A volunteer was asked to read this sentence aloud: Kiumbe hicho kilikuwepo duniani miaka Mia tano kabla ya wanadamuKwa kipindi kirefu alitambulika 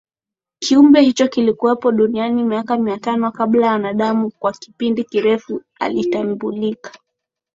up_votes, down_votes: 2, 0